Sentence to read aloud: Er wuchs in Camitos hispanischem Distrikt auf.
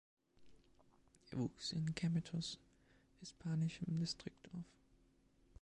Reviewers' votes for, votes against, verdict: 1, 2, rejected